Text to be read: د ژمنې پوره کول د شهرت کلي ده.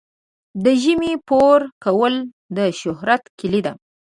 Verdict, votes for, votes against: rejected, 1, 2